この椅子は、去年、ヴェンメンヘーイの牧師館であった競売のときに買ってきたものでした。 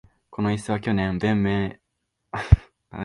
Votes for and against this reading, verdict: 0, 2, rejected